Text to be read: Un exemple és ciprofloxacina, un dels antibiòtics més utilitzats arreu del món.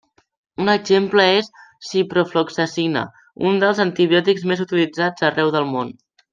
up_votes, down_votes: 3, 0